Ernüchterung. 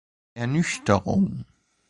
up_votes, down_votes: 2, 0